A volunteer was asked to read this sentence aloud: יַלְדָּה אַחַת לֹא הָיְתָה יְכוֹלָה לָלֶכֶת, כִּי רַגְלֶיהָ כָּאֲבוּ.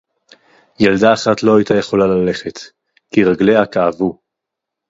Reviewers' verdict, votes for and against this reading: accepted, 4, 0